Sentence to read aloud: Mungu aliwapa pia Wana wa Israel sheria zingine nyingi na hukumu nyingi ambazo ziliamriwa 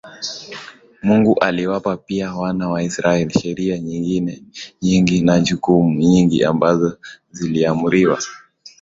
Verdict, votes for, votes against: accepted, 2, 0